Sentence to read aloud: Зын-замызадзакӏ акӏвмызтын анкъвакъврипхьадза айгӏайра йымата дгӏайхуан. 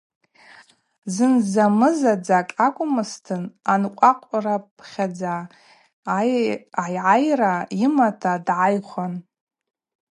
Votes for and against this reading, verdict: 2, 0, accepted